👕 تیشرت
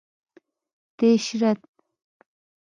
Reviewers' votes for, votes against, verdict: 1, 2, rejected